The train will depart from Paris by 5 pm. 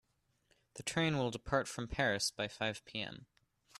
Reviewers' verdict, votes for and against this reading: rejected, 0, 2